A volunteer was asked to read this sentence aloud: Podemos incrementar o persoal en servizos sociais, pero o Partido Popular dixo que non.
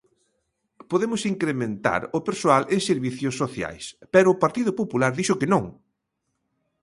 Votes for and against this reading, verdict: 1, 2, rejected